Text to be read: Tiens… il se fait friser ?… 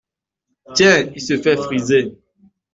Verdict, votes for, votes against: accepted, 2, 0